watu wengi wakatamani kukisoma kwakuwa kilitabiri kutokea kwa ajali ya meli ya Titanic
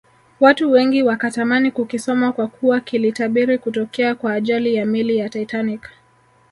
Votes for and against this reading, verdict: 1, 3, rejected